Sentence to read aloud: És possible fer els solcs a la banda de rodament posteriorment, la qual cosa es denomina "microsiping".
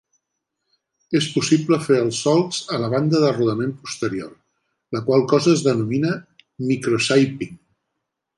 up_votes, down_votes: 0, 2